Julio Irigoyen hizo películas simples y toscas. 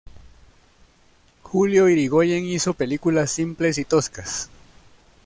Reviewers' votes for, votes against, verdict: 2, 0, accepted